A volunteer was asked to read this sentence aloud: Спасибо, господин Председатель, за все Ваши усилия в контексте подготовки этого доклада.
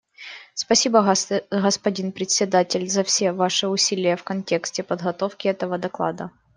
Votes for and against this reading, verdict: 0, 2, rejected